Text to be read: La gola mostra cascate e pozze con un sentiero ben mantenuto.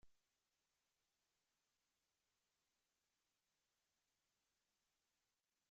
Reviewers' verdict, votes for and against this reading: rejected, 0, 2